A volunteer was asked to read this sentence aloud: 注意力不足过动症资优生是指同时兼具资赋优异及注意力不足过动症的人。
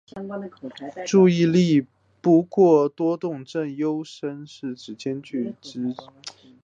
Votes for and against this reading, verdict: 4, 0, accepted